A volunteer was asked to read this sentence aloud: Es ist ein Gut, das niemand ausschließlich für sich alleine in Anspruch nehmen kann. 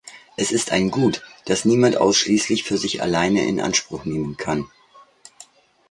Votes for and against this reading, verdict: 2, 0, accepted